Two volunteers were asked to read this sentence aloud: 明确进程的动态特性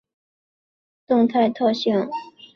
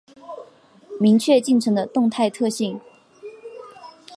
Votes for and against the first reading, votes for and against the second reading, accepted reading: 0, 3, 4, 0, second